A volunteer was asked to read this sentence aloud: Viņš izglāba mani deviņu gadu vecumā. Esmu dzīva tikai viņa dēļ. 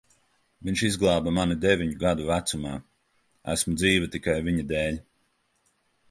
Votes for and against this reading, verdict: 2, 0, accepted